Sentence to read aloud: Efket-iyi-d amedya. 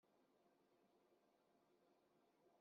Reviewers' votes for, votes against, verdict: 1, 2, rejected